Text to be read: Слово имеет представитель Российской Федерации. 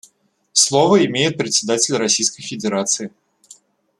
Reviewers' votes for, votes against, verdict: 0, 2, rejected